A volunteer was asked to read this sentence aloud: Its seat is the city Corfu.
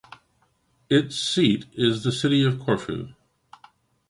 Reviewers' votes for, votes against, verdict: 1, 2, rejected